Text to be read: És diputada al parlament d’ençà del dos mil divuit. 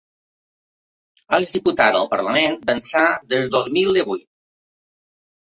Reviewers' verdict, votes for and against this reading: accepted, 2, 0